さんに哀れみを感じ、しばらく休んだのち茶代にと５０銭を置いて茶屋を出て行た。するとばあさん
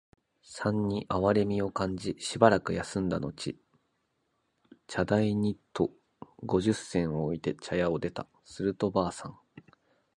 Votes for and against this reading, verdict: 0, 2, rejected